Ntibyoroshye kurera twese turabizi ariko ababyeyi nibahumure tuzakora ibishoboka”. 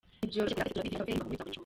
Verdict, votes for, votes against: rejected, 0, 2